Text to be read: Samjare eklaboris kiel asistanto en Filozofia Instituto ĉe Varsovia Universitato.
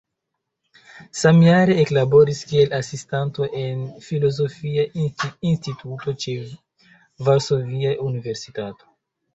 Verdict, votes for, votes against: rejected, 1, 2